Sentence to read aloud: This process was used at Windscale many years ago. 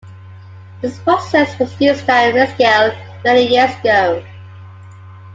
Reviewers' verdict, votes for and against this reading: rejected, 0, 2